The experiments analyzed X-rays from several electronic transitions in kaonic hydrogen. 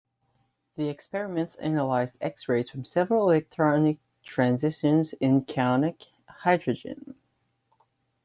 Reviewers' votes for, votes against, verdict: 1, 2, rejected